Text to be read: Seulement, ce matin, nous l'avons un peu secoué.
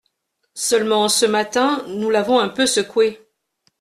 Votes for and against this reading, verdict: 2, 0, accepted